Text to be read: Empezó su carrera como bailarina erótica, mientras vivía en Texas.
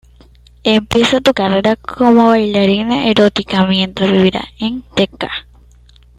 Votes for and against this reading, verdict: 1, 2, rejected